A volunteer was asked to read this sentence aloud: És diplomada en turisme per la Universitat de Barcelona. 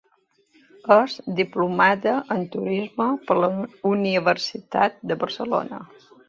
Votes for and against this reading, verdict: 2, 0, accepted